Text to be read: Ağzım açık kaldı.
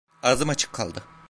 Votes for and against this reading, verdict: 2, 0, accepted